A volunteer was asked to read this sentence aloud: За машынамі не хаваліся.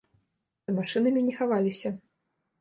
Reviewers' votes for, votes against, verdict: 1, 2, rejected